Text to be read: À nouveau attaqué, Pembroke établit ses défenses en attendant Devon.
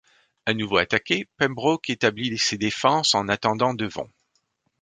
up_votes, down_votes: 1, 2